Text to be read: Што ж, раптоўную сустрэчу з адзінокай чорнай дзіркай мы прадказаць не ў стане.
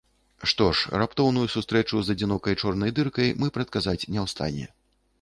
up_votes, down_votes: 0, 2